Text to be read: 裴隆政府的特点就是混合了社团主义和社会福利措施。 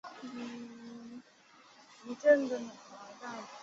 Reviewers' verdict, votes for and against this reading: rejected, 0, 2